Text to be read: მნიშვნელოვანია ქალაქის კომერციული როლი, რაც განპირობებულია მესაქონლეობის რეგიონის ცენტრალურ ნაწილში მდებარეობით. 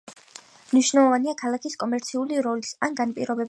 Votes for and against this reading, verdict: 0, 2, rejected